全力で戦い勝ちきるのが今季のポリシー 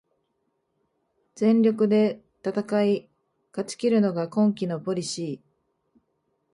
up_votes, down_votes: 5, 0